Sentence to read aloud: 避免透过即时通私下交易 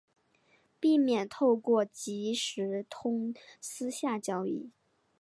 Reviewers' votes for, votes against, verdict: 4, 0, accepted